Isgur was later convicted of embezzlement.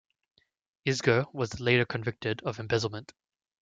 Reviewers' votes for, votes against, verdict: 1, 2, rejected